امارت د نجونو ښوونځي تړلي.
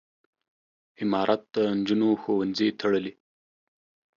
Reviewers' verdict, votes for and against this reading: accepted, 2, 0